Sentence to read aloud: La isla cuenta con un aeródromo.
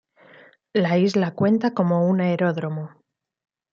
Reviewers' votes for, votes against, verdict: 1, 2, rejected